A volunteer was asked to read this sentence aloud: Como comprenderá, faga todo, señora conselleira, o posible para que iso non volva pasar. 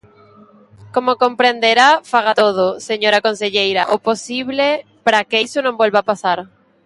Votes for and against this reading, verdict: 0, 2, rejected